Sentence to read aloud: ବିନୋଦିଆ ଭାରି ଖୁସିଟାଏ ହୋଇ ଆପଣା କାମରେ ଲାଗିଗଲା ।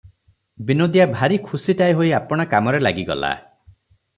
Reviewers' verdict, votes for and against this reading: accepted, 3, 0